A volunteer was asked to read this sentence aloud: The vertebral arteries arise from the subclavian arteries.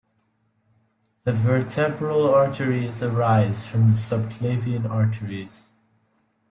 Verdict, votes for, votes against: accepted, 2, 1